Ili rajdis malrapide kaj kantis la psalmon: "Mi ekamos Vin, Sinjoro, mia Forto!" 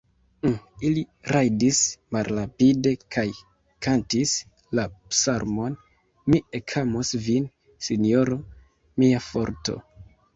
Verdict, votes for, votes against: accepted, 2, 0